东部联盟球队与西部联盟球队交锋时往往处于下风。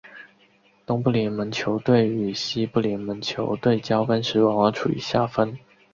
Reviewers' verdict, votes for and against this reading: accepted, 4, 1